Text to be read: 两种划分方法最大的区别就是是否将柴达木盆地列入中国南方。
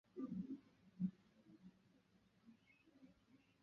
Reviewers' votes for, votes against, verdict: 0, 5, rejected